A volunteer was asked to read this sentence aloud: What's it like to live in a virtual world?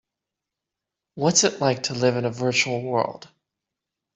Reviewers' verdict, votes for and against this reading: accepted, 2, 0